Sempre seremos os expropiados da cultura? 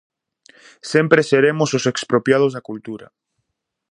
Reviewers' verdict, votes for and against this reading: accepted, 2, 0